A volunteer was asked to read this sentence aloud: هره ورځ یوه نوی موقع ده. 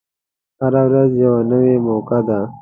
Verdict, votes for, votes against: accepted, 2, 0